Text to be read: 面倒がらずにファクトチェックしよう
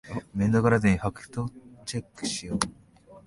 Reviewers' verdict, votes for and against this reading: rejected, 0, 2